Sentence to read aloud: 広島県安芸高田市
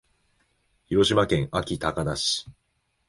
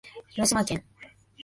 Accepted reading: first